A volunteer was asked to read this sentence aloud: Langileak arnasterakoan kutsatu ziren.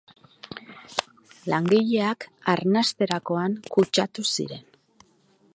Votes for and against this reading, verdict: 2, 0, accepted